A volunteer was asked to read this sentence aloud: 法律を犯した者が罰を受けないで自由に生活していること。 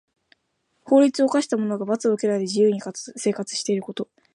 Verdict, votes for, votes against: accepted, 2, 0